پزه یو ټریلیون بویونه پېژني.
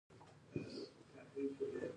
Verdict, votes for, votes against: rejected, 0, 2